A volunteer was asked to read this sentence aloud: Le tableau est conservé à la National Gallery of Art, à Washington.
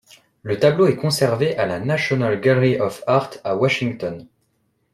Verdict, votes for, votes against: accepted, 2, 0